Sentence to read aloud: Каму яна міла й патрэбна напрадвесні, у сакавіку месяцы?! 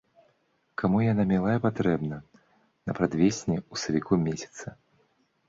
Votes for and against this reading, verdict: 1, 2, rejected